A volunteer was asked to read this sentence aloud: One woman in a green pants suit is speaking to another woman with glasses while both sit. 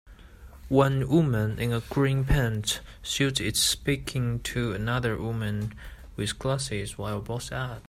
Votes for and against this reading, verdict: 2, 4, rejected